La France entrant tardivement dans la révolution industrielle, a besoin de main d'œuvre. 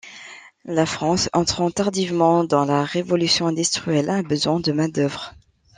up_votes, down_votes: 0, 2